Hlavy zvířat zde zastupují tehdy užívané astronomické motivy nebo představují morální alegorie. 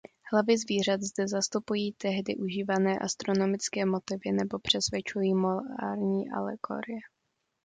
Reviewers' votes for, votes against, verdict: 1, 2, rejected